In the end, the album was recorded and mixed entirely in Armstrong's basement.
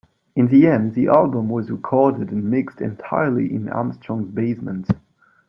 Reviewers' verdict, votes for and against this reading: accepted, 2, 0